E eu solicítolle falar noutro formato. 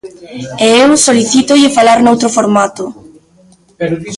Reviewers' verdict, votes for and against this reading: rejected, 1, 2